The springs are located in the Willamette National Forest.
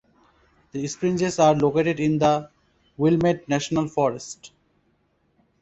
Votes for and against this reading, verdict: 0, 2, rejected